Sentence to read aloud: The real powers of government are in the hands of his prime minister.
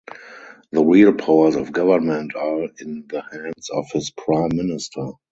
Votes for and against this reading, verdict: 0, 2, rejected